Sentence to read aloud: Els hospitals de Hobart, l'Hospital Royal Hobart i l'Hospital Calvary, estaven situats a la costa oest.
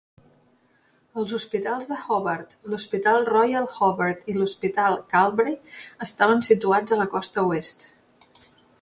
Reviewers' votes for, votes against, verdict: 0, 2, rejected